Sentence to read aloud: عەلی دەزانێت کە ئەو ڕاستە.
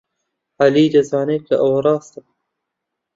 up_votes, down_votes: 0, 2